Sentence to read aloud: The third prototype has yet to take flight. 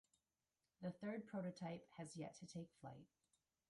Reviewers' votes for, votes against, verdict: 1, 2, rejected